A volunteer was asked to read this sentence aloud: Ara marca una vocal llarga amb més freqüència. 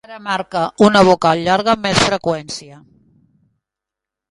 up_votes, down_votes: 1, 3